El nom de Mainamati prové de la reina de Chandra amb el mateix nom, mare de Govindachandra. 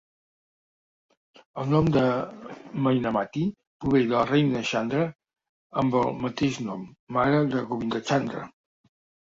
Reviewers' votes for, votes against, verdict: 3, 4, rejected